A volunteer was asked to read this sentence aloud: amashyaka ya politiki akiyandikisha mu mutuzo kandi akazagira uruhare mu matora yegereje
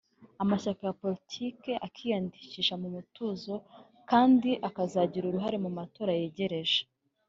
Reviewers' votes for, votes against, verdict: 2, 0, accepted